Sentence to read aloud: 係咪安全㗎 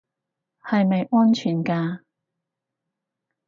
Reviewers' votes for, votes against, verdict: 4, 0, accepted